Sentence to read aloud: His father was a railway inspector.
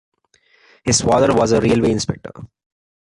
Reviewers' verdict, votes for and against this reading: accepted, 2, 0